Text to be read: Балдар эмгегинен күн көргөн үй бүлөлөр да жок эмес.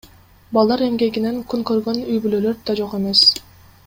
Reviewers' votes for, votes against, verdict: 2, 1, accepted